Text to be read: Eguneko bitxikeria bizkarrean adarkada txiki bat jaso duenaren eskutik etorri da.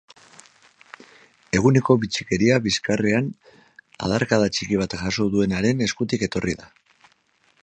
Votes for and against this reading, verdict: 2, 2, rejected